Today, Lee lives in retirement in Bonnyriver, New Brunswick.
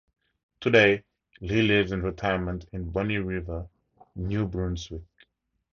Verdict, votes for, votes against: rejected, 0, 2